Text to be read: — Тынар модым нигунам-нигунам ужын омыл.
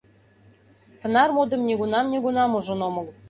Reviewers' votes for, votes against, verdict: 2, 0, accepted